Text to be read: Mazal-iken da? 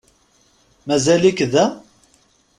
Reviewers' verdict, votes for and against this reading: rejected, 0, 2